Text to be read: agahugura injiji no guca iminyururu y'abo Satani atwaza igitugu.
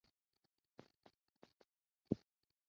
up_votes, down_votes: 1, 2